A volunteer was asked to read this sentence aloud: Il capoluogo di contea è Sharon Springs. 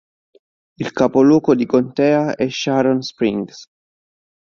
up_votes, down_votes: 2, 0